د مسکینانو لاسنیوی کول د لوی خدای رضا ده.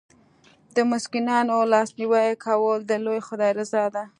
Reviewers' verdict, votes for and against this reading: accepted, 2, 0